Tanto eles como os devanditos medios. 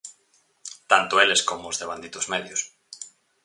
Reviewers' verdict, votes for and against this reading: accepted, 4, 0